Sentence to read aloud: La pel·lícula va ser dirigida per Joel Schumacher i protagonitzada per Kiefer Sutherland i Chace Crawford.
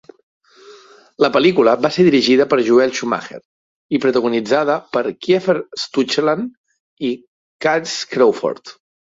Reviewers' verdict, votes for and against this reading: rejected, 1, 2